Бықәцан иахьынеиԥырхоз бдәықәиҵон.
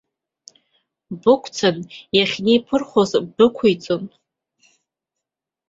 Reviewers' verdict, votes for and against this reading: accepted, 2, 0